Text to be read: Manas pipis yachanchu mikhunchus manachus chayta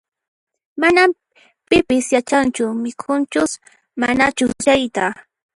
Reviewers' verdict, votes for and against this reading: rejected, 1, 2